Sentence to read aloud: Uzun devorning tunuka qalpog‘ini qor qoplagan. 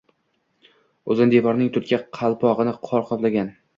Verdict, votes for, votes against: accepted, 2, 0